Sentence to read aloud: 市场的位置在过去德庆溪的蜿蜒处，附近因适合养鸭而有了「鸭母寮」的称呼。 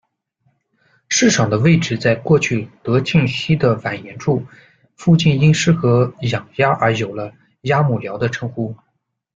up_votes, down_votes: 1, 2